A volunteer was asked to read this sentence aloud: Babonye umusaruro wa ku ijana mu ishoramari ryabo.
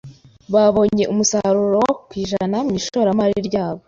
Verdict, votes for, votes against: accepted, 2, 1